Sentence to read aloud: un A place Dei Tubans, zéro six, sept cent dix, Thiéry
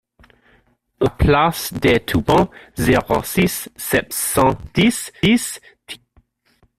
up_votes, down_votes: 0, 2